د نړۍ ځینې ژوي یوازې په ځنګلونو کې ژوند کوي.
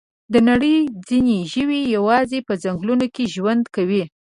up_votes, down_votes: 2, 0